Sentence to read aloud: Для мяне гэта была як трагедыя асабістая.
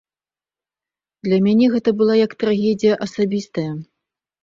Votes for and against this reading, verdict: 1, 2, rejected